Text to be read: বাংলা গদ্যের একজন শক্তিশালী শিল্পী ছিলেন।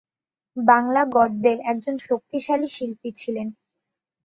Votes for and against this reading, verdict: 3, 0, accepted